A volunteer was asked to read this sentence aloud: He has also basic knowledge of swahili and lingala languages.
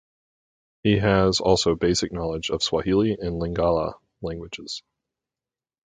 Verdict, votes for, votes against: accepted, 4, 0